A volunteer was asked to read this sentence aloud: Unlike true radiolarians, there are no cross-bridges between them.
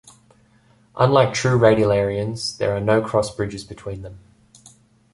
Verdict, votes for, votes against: accepted, 2, 0